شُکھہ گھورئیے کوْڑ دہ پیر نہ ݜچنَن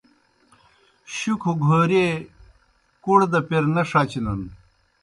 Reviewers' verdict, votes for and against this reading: accepted, 2, 0